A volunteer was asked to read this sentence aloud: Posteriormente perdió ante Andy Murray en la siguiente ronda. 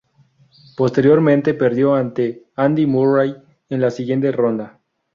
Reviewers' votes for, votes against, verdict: 0, 2, rejected